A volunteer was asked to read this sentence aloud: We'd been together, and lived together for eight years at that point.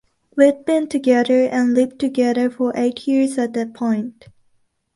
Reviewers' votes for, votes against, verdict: 2, 0, accepted